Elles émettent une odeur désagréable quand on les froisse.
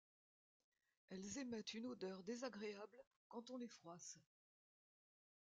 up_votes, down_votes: 0, 2